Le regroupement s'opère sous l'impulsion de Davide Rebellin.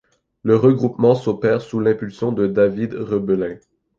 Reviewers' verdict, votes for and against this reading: rejected, 0, 2